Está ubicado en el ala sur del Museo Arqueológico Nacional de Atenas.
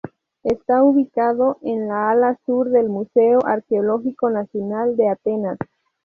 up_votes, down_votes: 0, 4